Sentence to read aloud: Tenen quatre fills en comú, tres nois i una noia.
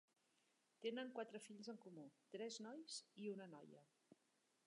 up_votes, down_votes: 1, 2